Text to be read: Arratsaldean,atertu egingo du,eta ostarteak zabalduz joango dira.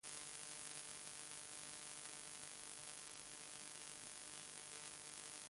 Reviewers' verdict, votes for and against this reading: rejected, 0, 2